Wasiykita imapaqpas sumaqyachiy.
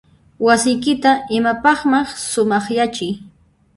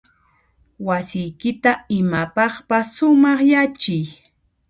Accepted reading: second